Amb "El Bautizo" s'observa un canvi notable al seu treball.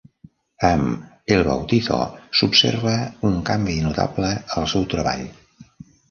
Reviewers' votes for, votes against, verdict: 2, 0, accepted